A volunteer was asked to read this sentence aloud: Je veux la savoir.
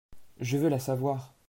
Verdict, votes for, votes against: accepted, 2, 0